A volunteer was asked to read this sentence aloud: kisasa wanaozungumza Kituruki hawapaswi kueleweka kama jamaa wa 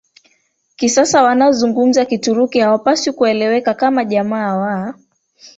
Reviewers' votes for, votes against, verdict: 1, 3, rejected